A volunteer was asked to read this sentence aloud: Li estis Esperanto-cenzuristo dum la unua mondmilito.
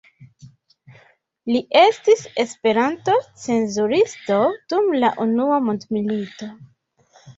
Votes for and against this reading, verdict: 2, 0, accepted